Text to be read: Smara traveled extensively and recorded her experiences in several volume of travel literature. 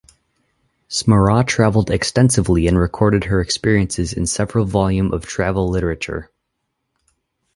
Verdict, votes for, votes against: accepted, 4, 0